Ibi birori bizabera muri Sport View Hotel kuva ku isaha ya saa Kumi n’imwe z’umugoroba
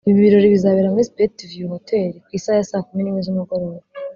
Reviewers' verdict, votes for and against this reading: rejected, 1, 2